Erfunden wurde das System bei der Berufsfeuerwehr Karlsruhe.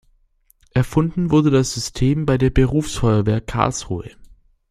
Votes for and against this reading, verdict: 2, 0, accepted